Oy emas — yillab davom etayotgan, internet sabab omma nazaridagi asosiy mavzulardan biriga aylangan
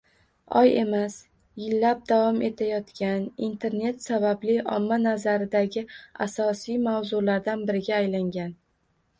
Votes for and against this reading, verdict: 1, 2, rejected